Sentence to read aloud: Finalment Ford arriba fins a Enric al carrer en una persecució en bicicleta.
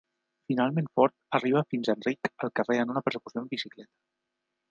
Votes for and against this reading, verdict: 1, 2, rejected